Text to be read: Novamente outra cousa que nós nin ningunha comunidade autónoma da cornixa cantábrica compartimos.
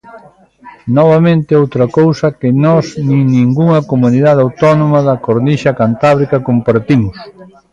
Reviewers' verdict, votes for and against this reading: rejected, 1, 2